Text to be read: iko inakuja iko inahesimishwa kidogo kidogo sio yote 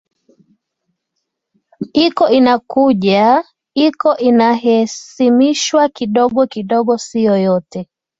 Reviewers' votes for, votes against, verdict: 2, 0, accepted